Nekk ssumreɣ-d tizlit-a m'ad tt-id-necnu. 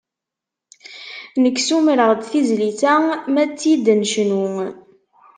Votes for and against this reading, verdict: 2, 0, accepted